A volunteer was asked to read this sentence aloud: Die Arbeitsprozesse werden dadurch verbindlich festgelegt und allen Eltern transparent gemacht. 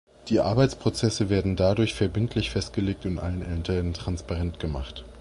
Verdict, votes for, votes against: rejected, 1, 2